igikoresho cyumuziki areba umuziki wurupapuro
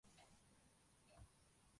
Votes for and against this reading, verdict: 0, 2, rejected